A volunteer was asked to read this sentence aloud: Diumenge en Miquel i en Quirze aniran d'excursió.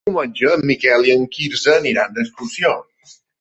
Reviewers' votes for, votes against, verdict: 0, 2, rejected